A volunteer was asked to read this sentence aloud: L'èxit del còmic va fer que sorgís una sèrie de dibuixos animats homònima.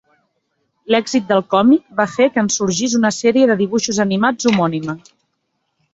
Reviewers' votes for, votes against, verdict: 0, 2, rejected